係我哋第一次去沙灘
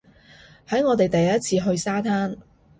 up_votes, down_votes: 1, 2